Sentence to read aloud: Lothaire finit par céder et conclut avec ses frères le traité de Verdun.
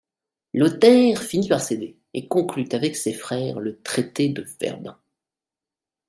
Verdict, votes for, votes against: accepted, 2, 0